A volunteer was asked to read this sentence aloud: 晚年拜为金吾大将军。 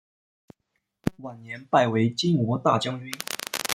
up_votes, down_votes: 1, 2